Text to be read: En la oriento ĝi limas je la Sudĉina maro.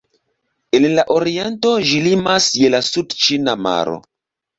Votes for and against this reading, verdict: 2, 0, accepted